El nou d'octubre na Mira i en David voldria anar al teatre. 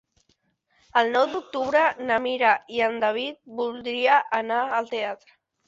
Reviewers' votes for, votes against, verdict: 4, 0, accepted